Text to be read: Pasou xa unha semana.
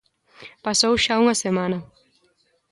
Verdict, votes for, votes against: accepted, 2, 0